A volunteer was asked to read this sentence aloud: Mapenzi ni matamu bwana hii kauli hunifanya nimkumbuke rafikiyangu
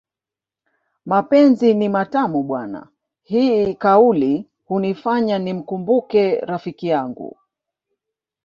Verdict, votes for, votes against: rejected, 1, 2